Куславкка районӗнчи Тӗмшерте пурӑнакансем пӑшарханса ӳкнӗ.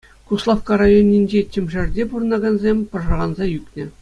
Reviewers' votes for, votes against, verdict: 2, 0, accepted